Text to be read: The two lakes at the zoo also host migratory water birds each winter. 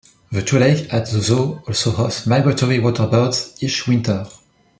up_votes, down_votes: 0, 2